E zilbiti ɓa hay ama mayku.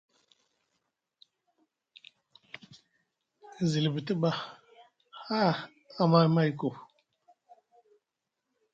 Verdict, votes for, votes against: rejected, 1, 2